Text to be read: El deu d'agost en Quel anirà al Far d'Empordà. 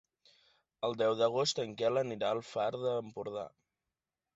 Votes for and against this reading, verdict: 2, 1, accepted